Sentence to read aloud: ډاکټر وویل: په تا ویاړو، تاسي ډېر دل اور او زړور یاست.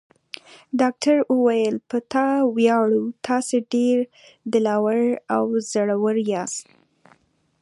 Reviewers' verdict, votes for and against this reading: accepted, 2, 1